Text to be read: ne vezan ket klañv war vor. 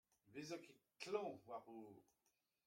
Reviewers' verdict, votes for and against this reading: rejected, 0, 2